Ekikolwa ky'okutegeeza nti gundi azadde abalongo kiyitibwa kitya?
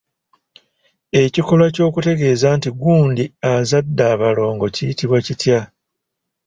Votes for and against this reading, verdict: 2, 0, accepted